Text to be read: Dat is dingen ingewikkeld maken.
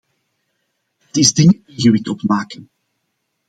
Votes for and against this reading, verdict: 0, 2, rejected